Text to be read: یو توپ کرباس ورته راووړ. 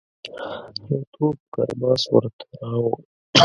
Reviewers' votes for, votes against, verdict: 0, 2, rejected